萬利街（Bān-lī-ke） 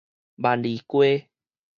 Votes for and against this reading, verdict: 2, 2, rejected